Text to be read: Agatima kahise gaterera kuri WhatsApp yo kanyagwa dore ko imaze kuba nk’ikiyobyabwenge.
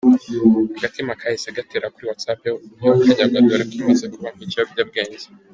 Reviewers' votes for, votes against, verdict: 2, 1, accepted